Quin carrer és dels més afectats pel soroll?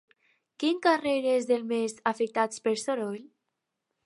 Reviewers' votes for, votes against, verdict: 0, 2, rejected